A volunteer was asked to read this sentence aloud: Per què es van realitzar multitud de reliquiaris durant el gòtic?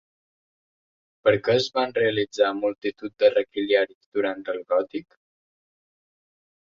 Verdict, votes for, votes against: rejected, 1, 2